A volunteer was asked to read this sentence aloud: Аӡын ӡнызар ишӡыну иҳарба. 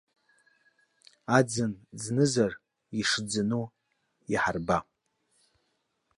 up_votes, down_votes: 2, 0